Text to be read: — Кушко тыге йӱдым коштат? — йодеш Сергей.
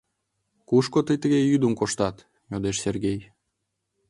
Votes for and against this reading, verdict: 1, 2, rejected